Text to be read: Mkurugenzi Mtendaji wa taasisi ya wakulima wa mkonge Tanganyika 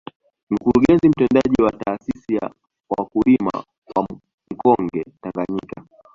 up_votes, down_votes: 2, 1